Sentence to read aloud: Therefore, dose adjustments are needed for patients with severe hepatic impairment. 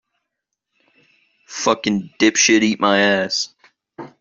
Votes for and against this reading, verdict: 0, 2, rejected